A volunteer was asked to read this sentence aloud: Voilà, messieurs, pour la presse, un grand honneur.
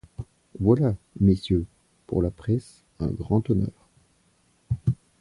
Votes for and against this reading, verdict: 2, 0, accepted